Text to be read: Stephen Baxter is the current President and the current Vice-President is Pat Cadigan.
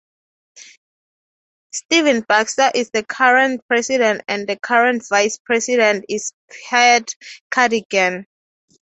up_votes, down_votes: 3, 0